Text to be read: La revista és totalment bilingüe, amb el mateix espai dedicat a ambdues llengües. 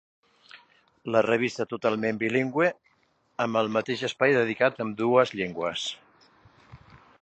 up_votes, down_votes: 1, 2